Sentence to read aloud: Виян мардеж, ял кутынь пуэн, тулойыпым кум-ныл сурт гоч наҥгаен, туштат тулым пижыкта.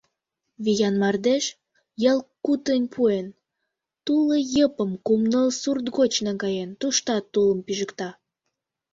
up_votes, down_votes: 1, 2